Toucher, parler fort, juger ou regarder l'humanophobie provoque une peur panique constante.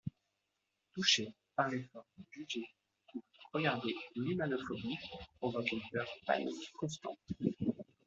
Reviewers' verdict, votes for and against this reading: accepted, 2, 0